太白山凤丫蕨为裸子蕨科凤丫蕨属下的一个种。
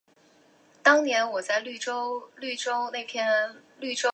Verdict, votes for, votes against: rejected, 0, 2